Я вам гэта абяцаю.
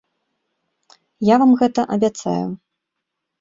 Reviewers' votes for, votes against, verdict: 2, 0, accepted